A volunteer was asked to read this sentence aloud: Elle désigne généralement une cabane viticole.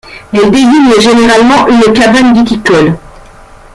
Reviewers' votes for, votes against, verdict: 2, 1, accepted